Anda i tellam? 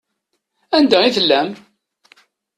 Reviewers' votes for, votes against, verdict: 2, 0, accepted